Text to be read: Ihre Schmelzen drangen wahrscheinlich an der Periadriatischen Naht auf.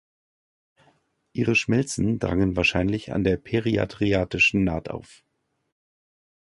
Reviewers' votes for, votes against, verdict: 2, 0, accepted